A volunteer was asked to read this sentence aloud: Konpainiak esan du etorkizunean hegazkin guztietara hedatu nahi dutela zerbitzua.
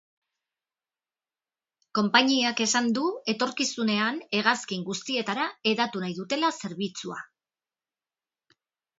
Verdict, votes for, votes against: accepted, 9, 0